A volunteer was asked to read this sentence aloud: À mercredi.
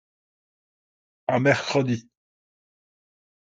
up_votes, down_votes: 0, 2